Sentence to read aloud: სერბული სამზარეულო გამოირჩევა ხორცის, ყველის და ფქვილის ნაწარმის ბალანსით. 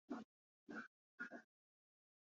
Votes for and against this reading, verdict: 0, 3, rejected